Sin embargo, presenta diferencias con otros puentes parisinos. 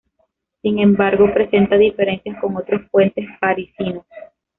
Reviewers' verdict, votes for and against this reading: accepted, 2, 1